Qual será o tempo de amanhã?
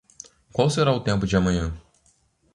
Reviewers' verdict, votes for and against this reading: accepted, 2, 0